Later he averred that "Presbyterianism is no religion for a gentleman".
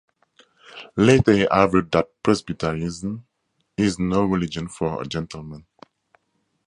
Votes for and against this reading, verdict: 4, 0, accepted